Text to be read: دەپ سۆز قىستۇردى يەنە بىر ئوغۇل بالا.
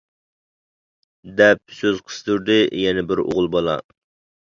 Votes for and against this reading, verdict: 2, 0, accepted